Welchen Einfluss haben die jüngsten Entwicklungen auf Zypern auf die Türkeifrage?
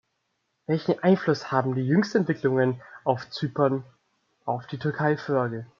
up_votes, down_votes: 2, 0